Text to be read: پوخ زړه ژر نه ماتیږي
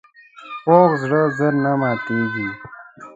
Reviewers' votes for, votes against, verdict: 1, 2, rejected